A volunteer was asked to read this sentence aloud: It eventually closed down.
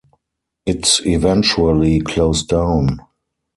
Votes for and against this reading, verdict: 4, 2, accepted